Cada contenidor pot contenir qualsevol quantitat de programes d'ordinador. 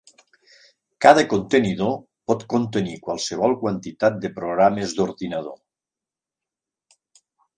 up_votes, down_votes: 3, 0